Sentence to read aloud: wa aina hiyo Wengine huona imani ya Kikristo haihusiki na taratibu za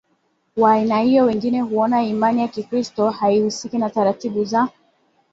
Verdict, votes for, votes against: accepted, 2, 0